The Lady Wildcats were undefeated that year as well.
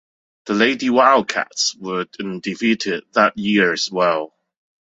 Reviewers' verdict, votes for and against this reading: rejected, 1, 2